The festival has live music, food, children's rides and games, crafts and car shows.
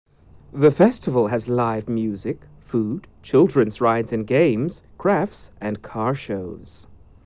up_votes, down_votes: 2, 0